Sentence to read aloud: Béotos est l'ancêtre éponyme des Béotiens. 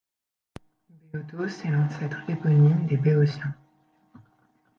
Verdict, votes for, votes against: rejected, 1, 2